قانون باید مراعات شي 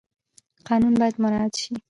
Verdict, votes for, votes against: accepted, 2, 0